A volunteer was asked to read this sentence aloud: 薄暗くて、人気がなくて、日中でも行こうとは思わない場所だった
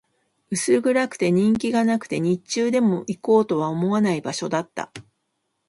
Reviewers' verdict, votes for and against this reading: accepted, 3, 1